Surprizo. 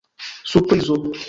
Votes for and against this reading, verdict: 0, 2, rejected